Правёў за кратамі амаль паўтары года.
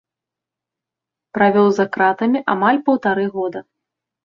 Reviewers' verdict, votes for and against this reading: accepted, 2, 0